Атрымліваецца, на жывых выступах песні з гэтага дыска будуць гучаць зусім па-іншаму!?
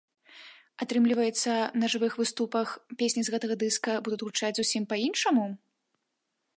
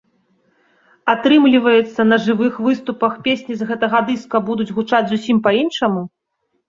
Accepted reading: second